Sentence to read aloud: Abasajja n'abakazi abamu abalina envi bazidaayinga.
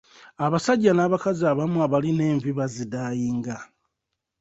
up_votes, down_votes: 2, 0